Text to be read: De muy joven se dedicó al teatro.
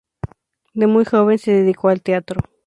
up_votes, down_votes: 4, 0